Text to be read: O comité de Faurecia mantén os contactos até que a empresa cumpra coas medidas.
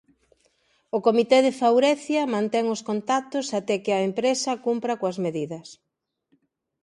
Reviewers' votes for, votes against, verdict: 2, 0, accepted